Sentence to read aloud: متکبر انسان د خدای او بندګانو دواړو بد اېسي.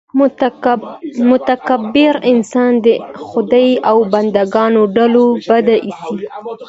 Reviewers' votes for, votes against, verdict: 0, 2, rejected